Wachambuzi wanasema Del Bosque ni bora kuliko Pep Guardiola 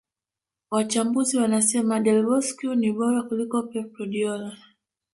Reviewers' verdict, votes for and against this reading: accepted, 3, 0